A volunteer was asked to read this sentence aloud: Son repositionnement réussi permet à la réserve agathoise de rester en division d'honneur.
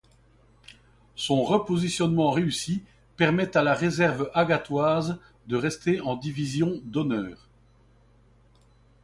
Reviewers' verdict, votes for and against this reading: accepted, 2, 0